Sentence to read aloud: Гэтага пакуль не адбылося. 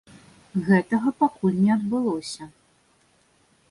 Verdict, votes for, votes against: accepted, 2, 0